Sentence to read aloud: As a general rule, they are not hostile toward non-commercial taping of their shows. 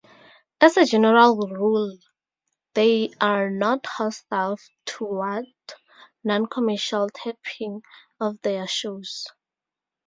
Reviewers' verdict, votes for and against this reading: accepted, 2, 0